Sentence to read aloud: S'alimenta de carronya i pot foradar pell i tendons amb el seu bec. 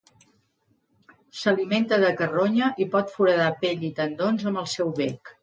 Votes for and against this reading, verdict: 2, 0, accepted